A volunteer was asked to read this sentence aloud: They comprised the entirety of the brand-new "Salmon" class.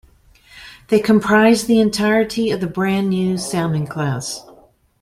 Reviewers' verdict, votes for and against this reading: accepted, 2, 0